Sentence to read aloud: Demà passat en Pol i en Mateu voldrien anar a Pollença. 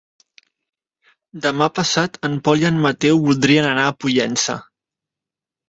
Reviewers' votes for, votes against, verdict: 2, 0, accepted